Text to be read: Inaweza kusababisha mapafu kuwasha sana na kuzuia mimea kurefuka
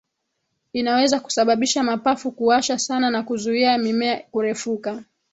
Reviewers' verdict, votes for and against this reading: accepted, 3, 0